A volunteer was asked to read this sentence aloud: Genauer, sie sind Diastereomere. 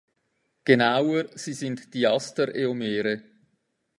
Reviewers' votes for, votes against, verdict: 1, 2, rejected